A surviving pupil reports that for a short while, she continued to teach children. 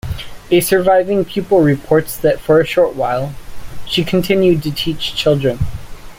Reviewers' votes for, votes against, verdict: 2, 0, accepted